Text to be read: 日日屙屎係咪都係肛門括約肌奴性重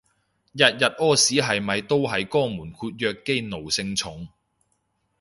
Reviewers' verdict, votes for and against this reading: accepted, 2, 0